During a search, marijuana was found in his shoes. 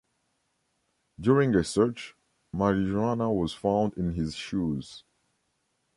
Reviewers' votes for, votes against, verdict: 0, 2, rejected